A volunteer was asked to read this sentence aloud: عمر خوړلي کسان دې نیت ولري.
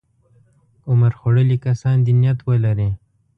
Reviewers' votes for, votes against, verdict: 2, 0, accepted